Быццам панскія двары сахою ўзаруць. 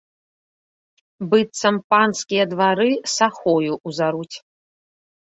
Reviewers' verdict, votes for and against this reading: accepted, 2, 0